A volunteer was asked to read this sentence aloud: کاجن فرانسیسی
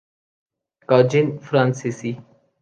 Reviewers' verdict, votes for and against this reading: accepted, 2, 0